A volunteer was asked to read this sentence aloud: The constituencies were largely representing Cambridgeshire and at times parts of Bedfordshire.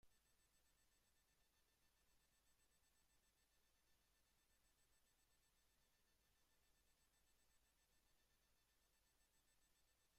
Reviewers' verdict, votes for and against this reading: rejected, 0, 2